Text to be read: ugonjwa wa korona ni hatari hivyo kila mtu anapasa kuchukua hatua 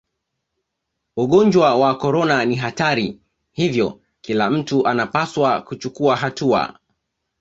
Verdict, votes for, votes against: accepted, 2, 0